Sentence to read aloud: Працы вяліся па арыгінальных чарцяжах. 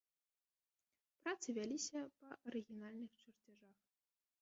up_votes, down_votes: 1, 2